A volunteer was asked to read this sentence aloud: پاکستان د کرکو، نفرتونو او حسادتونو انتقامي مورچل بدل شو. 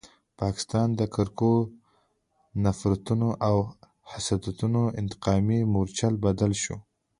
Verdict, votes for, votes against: accepted, 2, 0